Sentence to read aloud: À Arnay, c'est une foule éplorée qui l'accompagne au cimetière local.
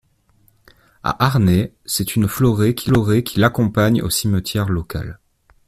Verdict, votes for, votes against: rejected, 0, 2